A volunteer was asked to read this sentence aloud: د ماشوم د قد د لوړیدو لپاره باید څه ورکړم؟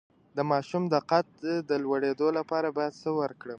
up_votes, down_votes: 1, 2